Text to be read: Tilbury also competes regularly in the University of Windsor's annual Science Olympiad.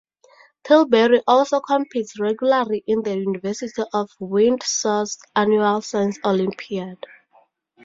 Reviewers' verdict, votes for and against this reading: accepted, 2, 0